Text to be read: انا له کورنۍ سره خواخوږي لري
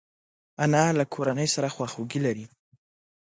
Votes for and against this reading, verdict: 2, 0, accepted